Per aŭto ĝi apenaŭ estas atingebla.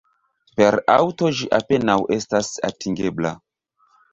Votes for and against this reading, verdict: 0, 2, rejected